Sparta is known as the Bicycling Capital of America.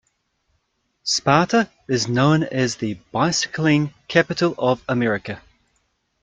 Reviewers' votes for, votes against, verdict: 1, 2, rejected